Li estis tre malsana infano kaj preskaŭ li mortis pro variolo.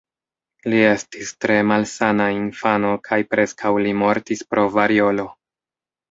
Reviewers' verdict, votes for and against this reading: accepted, 3, 0